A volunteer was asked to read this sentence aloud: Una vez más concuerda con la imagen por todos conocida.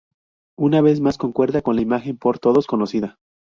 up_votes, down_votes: 2, 0